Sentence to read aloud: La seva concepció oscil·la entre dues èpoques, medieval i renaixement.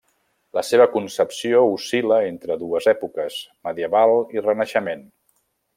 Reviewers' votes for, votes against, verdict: 3, 0, accepted